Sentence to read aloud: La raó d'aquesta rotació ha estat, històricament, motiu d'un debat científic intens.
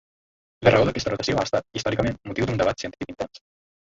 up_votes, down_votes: 1, 2